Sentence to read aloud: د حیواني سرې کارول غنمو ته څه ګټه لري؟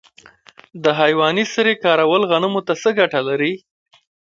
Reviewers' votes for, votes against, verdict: 1, 2, rejected